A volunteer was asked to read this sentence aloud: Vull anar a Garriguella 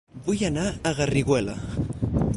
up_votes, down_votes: 0, 4